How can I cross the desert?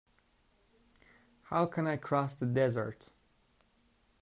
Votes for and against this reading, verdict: 2, 0, accepted